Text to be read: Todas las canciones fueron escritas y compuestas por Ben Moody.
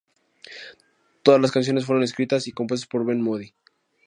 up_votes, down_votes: 2, 0